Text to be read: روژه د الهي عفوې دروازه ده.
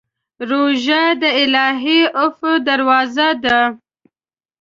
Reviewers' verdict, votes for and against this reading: rejected, 1, 2